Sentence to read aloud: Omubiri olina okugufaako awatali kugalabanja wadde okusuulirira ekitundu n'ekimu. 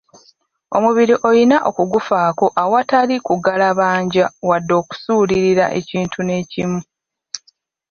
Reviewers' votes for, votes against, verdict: 1, 2, rejected